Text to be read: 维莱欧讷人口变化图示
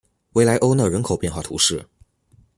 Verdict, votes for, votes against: accepted, 2, 0